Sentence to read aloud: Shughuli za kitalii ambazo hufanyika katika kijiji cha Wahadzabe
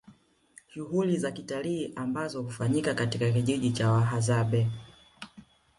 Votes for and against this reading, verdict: 1, 2, rejected